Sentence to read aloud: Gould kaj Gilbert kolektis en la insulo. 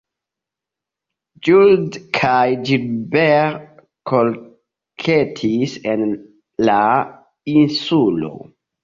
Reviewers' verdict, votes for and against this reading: accepted, 2, 0